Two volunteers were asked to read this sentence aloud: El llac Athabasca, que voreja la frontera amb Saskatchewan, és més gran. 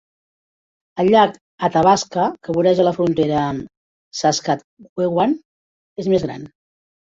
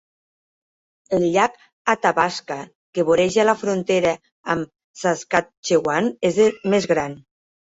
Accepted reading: first